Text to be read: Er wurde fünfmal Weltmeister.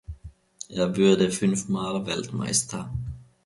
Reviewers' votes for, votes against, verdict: 0, 2, rejected